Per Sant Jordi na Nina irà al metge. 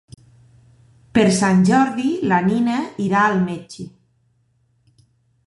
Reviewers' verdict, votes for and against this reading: rejected, 0, 2